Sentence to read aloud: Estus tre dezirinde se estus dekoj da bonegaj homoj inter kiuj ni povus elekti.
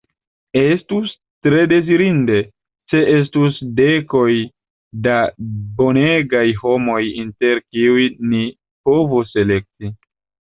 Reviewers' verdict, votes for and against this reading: rejected, 0, 2